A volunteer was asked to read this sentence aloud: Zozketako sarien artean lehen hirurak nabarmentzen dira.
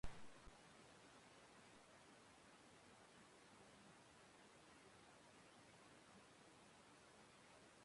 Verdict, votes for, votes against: rejected, 0, 2